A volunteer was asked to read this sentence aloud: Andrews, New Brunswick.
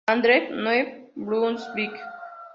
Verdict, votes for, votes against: rejected, 0, 2